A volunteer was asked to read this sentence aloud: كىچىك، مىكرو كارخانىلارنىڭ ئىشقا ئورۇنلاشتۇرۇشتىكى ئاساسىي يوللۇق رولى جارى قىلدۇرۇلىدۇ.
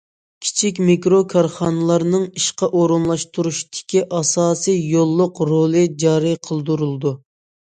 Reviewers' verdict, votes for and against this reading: accepted, 2, 0